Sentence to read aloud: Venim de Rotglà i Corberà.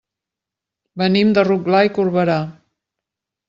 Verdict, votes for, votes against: accepted, 3, 0